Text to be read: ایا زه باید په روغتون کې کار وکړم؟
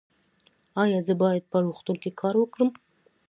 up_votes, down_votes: 2, 0